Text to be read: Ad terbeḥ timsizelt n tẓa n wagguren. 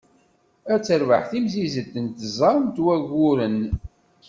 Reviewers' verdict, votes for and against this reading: accepted, 2, 0